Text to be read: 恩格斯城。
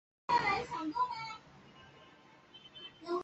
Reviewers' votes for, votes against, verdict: 0, 2, rejected